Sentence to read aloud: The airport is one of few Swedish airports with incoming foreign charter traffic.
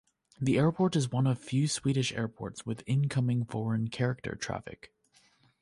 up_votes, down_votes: 0, 2